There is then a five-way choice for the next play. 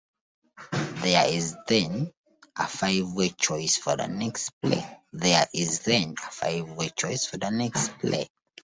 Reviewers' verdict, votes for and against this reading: rejected, 1, 2